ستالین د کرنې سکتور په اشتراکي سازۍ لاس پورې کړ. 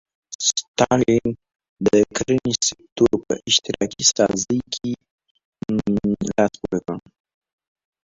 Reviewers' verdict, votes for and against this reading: rejected, 1, 2